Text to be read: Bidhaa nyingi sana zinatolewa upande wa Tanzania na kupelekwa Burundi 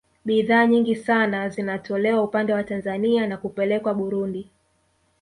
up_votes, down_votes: 1, 2